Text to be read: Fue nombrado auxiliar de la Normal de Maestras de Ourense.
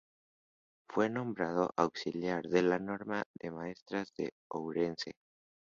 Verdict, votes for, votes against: accepted, 2, 0